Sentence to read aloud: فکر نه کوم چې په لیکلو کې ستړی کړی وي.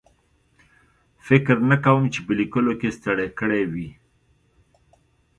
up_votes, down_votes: 2, 0